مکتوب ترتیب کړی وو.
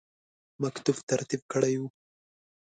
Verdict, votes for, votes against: accepted, 2, 0